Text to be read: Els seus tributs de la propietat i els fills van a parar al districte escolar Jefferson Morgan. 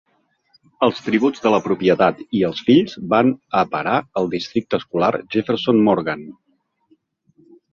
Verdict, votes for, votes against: rejected, 0, 2